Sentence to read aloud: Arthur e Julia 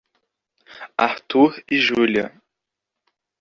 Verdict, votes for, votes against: accepted, 2, 0